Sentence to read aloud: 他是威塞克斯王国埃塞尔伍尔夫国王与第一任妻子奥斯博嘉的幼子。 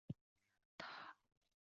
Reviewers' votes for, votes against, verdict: 0, 2, rejected